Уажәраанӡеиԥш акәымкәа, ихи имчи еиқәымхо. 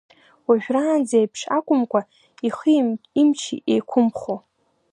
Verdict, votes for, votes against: accepted, 2, 0